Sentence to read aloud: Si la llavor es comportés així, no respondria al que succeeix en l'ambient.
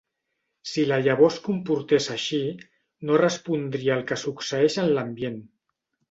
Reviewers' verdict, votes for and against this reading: accepted, 2, 0